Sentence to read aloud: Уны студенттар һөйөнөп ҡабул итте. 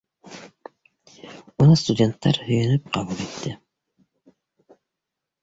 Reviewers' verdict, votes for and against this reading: accepted, 2, 1